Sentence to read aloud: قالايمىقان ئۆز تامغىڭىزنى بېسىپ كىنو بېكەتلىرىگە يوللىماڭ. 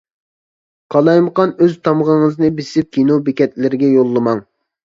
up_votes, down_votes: 2, 0